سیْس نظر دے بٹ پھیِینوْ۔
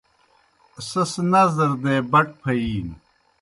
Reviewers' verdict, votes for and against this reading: accepted, 2, 0